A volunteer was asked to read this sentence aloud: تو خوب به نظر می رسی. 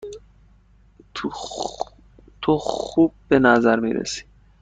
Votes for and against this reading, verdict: 1, 2, rejected